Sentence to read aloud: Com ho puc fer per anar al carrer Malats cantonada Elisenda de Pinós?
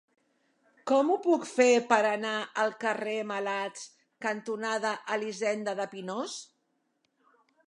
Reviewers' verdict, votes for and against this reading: accepted, 3, 0